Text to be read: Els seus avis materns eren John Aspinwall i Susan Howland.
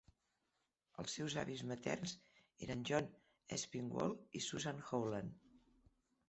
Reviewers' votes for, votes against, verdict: 2, 0, accepted